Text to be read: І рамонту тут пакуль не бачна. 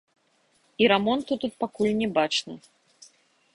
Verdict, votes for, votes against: rejected, 1, 2